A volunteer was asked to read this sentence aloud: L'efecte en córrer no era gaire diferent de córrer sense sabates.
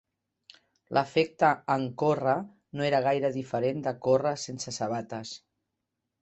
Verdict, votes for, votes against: accepted, 2, 0